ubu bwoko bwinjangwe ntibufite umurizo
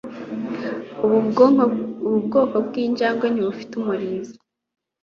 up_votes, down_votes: 0, 2